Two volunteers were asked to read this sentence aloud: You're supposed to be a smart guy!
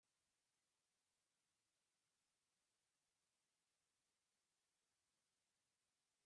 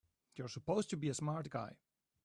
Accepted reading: second